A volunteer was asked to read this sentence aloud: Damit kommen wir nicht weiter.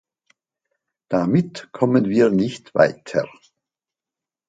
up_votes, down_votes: 2, 0